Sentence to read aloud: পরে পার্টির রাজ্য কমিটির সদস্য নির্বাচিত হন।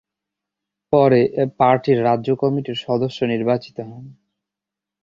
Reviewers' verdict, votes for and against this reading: rejected, 3, 4